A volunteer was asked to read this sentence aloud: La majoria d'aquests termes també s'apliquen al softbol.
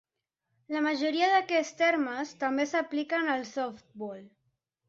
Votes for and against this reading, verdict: 5, 0, accepted